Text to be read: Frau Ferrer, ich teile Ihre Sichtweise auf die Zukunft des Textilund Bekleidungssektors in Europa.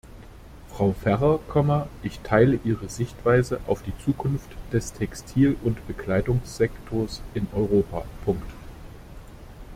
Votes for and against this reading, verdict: 0, 2, rejected